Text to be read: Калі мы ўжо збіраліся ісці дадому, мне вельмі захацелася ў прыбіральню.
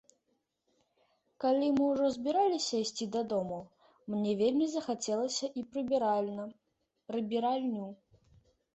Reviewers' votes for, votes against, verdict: 1, 2, rejected